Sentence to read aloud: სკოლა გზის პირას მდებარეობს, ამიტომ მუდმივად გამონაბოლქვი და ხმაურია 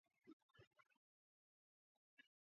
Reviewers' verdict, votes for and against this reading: rejected, 0, 2